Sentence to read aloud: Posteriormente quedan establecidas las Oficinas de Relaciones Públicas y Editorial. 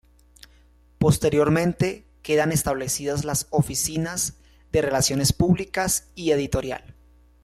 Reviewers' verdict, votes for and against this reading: rejected, 1, 2